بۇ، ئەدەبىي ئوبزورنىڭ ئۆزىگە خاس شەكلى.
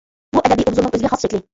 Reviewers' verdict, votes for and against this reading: rejected, 0, 2